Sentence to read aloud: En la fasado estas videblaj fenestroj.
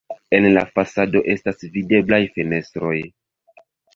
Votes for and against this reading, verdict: 0, 2, rejected